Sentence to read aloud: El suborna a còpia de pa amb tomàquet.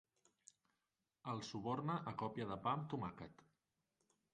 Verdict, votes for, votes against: rejected, 2, 3